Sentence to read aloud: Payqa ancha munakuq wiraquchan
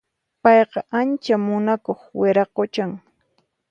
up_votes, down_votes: 4, 0